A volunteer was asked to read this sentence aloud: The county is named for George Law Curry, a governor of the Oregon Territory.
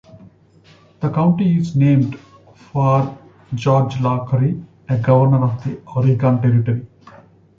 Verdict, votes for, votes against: accepted, 2, 0